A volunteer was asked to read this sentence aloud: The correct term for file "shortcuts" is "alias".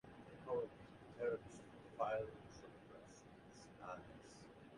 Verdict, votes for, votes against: rejected, 0, 2